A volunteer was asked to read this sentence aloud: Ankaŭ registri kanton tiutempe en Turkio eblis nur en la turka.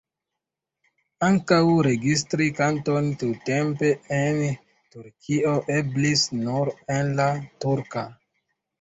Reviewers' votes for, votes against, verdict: 2, 0, accepted